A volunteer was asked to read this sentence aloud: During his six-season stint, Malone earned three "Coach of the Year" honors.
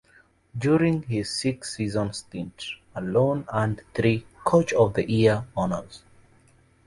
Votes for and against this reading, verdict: 2, 2, rejected